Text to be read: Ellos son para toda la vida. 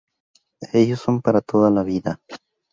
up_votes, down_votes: 4, 0